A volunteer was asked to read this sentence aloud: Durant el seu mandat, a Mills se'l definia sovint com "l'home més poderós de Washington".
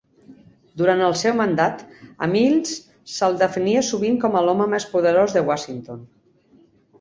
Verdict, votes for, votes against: rejected, 0, 2